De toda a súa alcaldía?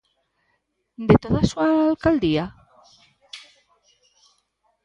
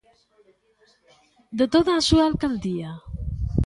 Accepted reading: first